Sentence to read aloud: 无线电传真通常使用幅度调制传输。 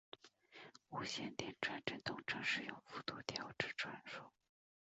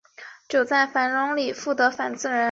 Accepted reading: first